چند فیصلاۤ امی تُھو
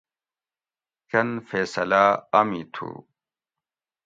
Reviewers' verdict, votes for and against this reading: accepted, 2, 0